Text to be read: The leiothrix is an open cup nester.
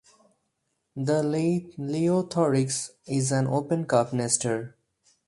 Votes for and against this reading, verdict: 0, 4, rejected